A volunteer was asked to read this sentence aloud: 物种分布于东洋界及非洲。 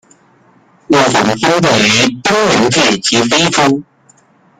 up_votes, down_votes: 0, 2